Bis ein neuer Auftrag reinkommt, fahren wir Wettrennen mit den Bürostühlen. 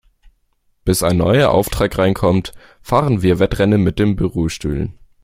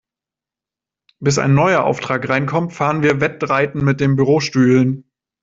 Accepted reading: first